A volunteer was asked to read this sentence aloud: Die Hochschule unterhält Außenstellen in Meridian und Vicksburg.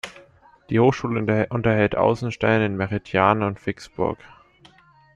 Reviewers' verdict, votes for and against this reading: rejected, 0, 2